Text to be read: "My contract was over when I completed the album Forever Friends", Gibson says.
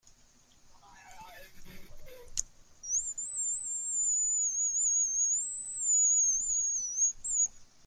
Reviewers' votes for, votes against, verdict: 0, 2, rejected